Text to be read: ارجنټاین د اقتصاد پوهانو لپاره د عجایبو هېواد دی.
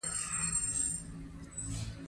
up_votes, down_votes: 0, 2